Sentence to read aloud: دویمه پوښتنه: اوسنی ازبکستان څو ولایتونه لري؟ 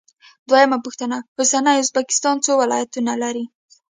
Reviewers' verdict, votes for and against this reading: accepted, 2, 0